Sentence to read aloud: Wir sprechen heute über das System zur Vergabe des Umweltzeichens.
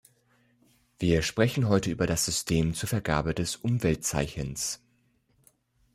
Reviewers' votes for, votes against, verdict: 2, 0, accepted